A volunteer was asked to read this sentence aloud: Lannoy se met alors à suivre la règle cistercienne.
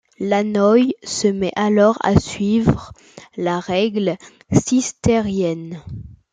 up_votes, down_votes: 0, 2